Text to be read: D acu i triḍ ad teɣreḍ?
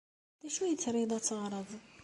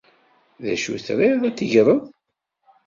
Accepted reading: first